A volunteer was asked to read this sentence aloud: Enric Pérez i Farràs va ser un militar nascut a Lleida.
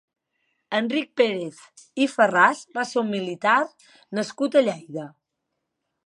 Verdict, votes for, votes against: accepted, 3, 0